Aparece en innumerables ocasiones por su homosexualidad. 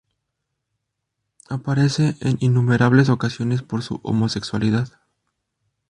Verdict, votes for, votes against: rejected, 0, 2